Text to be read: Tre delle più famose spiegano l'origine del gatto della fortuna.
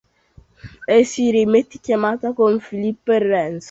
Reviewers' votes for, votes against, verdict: 0, 2, rejected